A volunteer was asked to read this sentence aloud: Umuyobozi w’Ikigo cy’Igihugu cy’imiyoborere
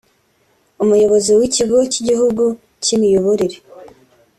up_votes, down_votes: 2, 0